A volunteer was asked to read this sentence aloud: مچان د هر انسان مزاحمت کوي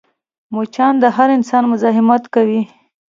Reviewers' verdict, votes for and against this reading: accepted, 2, 1